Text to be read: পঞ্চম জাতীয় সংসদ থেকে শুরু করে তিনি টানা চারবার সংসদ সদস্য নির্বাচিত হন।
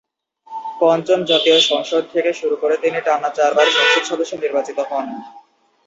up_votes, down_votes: 0, 2